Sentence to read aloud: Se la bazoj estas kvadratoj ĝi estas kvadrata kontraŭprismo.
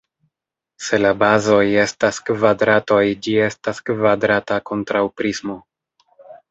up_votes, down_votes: 3, 0